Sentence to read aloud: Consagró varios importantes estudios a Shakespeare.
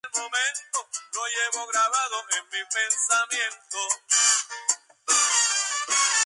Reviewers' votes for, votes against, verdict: 0, 6, rejected